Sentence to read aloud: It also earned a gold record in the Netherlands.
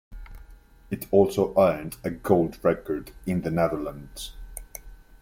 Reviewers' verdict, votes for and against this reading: accepted, 2, 0